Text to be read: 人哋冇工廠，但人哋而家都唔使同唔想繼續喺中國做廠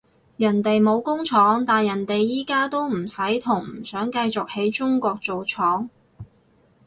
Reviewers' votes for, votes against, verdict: 0, 4, rejected